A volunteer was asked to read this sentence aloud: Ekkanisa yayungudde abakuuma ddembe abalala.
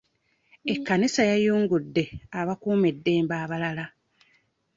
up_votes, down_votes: 1, 2